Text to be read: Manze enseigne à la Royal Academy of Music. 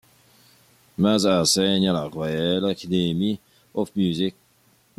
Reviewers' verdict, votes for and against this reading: rejected, 1, 2